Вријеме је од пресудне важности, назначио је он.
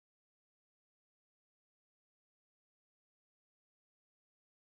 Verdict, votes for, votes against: rejected, 0, 2